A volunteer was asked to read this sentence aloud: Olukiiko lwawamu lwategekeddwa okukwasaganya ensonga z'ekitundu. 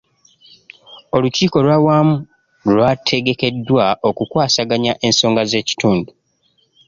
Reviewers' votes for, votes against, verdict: 0, 2, rejected